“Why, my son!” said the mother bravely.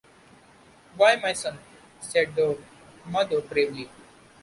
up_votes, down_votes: 2, 0